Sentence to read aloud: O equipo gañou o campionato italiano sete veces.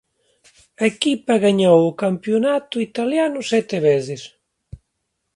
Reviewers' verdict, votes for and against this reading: rejected, 0, 2